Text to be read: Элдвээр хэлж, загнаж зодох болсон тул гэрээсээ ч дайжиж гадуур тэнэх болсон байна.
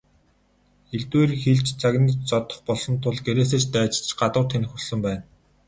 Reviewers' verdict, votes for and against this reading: accepted, 10, 4